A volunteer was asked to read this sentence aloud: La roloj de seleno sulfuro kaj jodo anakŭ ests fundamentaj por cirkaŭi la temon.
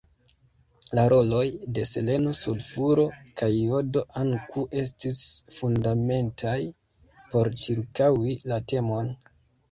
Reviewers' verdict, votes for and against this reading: accepted, 2, 1